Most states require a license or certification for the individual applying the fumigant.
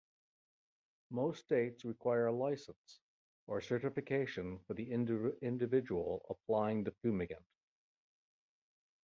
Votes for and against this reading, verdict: 3, 1, accepted